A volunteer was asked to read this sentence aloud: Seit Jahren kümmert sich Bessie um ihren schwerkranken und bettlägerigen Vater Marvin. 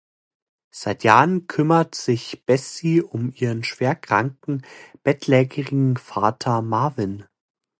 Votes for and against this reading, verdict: 0, 2, rejected